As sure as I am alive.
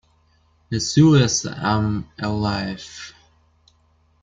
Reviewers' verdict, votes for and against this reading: rejected, 0, 2